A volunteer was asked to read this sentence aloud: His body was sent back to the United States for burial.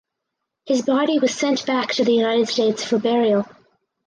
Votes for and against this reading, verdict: 2, 0, accepted